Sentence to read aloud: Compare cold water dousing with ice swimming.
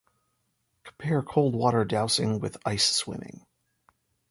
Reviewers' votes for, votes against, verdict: 2, 0, accepted